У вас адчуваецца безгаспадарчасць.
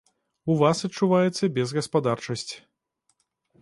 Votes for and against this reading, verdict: 2, 0, accepted